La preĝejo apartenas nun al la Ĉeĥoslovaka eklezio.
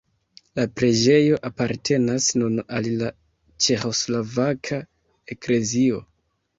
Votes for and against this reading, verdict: 2, 1, accepted